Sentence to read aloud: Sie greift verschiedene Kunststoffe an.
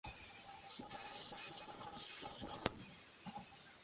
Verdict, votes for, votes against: rejected, 0, 2